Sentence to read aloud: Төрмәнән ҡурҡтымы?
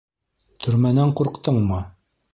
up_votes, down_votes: 1, 2